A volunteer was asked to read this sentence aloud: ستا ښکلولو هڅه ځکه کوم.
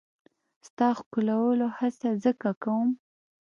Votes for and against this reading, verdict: 1, 2, rejected